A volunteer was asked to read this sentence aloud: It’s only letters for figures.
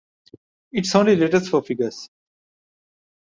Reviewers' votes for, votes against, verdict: 0, 2, rejected